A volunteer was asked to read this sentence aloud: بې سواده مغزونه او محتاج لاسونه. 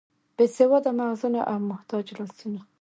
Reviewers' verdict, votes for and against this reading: rejected, 1, 2